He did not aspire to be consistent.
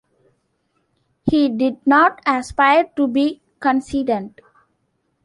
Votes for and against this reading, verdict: 1, 2, rejected